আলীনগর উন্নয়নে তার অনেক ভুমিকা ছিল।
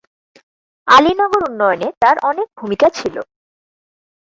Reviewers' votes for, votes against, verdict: 4, 0, accepted